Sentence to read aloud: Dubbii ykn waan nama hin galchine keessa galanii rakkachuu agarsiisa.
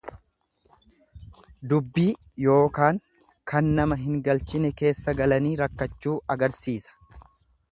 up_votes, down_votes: 1, 2